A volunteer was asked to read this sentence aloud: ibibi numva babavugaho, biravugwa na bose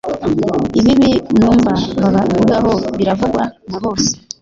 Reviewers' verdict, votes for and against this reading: rejected, 0, 2